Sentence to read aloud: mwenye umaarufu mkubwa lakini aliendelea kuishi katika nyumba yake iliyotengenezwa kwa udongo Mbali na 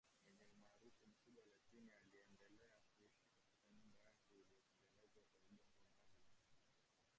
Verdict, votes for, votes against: rejected, 0, 2